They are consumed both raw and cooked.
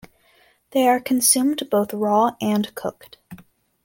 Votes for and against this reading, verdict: 2, 0, accepted